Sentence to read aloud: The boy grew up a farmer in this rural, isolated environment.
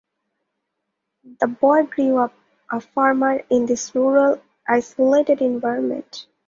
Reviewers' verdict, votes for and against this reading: accepted, 2, 0